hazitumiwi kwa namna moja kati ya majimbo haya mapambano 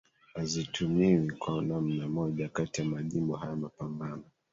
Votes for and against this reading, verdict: 2, 1, accepted